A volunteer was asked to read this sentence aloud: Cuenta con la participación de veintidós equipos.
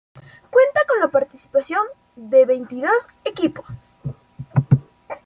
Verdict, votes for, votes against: accepted, 3, 0